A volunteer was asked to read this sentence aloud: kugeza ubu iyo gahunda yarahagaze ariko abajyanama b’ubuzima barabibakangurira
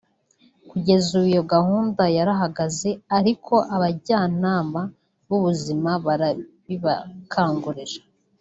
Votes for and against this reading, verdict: 0, 2, rejected